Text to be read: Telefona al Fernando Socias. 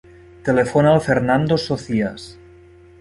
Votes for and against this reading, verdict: 0, 2, rejected